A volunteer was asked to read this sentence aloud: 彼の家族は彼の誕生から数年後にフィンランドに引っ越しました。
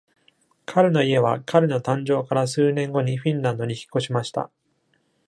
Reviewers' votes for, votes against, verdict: 1, 2, rejected